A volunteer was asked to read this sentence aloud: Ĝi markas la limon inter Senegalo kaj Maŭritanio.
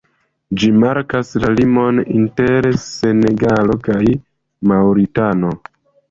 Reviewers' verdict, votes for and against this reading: accepted, 2, 0